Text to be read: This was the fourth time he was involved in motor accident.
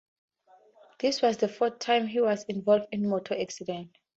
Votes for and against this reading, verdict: 4, 0, accepted